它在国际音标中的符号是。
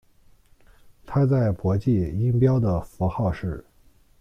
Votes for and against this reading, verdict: 0, 2, rejected